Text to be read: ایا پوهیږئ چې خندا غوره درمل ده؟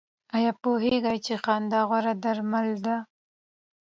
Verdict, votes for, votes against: accepted, 2, 0